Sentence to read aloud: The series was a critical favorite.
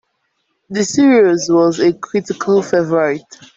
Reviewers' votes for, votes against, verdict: 2, 0, accepted